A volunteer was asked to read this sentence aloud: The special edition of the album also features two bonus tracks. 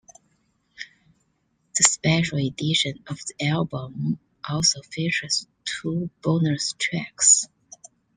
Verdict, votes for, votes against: accepted, 2, 0